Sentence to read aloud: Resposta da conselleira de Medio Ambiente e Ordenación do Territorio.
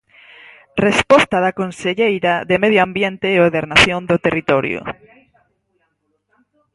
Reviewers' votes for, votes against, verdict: 6, 2, accepted